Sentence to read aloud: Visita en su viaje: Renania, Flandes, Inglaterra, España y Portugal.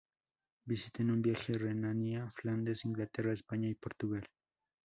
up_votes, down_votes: 0, 4